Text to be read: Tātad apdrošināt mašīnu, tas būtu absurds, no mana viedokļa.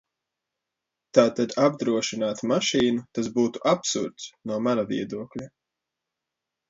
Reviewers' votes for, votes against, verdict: 2, 0, accepted